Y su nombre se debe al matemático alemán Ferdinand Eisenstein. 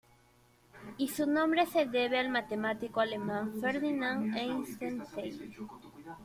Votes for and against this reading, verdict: 1, 2, rejected